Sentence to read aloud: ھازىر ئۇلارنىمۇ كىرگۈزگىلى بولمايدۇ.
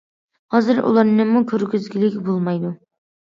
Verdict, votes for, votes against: accepted, 2, 1